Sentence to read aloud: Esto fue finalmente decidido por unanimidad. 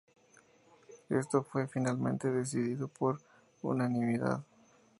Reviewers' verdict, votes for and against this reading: accepted, 4, 2